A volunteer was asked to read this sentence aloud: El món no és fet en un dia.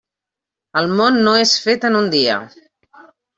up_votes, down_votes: 3, 0